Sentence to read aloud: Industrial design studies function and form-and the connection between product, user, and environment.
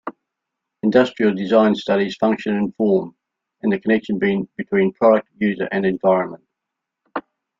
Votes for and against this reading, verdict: 0, 2, rejected